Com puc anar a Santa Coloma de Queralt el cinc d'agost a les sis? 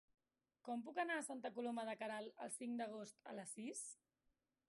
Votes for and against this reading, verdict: 0, 2, rejected